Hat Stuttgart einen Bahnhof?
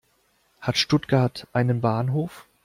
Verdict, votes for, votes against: accepted, 2, 0